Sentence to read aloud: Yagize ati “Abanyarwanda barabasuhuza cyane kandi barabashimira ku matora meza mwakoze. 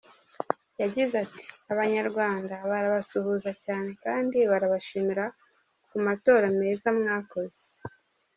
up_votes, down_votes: 2, 0